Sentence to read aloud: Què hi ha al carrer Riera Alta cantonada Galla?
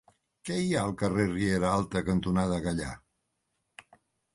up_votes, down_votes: 0, 2